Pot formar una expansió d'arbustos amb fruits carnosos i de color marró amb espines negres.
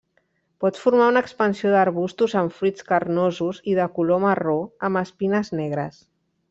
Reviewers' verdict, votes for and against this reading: rejected, 0, 2